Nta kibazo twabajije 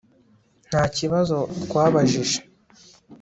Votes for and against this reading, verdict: 2, 0, accepted